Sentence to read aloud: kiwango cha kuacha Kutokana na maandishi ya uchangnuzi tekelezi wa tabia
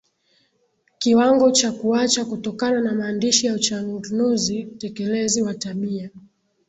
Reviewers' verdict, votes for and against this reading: accepted, 2, 0